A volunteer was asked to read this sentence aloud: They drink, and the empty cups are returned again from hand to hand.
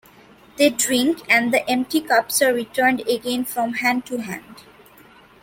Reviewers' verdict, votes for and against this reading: accepted, 2, 1